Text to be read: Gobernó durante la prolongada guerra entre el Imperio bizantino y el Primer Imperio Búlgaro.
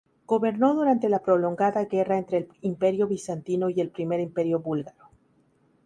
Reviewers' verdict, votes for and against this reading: accepted, 2, 0